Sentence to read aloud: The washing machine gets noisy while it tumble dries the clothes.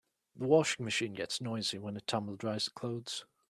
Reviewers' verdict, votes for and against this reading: accepted, 2, 0